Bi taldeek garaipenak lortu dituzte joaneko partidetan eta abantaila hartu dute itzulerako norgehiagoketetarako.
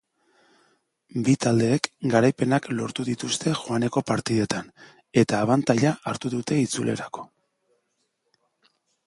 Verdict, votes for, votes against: rejected, 0, 2